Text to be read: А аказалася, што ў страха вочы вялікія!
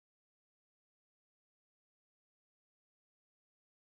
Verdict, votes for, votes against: rejected, 1, 2